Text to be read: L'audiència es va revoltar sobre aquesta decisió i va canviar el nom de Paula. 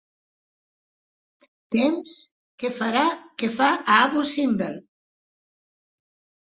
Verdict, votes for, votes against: rejected, 0, 2